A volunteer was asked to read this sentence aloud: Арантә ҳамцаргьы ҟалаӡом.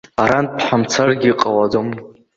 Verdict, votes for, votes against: accepted, 2, 0